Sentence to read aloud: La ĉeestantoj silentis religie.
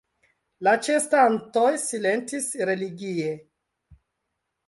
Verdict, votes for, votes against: accepted, 2, 0